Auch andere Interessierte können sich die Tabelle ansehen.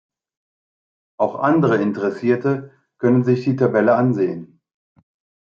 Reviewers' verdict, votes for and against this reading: accepted, 2, 0